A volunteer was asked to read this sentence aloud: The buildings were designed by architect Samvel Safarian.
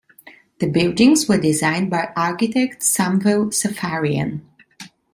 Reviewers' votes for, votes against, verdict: 2, 0, accepted